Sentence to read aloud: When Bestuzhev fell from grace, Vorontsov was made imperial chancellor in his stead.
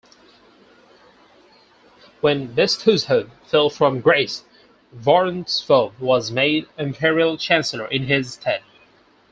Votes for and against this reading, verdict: 0, 4, rejected